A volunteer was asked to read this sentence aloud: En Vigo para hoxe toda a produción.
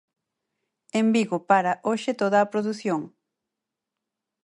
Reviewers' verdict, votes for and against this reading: accepted, 4, 0